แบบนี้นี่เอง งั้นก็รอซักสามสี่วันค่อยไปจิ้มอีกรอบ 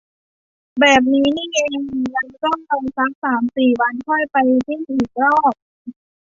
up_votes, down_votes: 0, 2